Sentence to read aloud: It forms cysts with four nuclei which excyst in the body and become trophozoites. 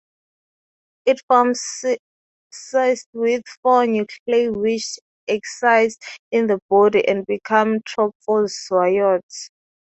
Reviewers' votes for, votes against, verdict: 0, 2, rejected